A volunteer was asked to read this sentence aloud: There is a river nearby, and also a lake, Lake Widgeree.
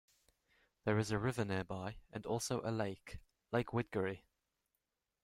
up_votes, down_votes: 1, 2